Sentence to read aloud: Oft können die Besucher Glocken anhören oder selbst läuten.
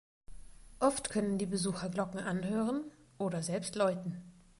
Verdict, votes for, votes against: accepted, 2, 0